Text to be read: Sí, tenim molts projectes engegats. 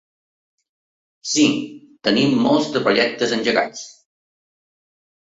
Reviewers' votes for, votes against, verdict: 1, 2, rejected